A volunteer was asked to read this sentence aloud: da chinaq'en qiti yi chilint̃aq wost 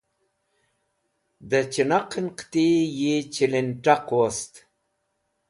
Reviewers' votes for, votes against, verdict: 2, 0, accepted